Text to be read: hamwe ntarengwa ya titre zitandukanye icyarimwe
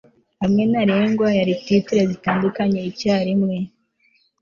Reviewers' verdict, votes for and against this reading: accepted, 2, 0